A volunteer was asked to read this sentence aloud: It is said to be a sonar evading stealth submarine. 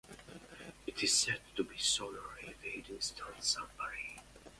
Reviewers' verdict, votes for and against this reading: rejected, 0, 2